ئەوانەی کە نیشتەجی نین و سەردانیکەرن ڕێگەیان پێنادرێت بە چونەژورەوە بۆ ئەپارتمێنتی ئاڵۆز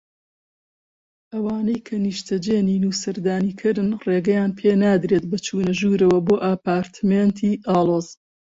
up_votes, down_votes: 2, 1